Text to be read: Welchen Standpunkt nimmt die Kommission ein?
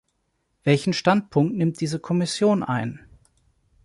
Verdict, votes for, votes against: rejected, 0, 2